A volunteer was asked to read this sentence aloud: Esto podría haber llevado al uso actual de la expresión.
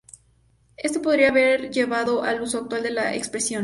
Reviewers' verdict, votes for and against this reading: rejected, 2, 2